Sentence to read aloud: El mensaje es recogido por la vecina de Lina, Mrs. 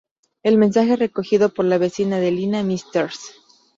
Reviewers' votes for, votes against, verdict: 2, 2, rejected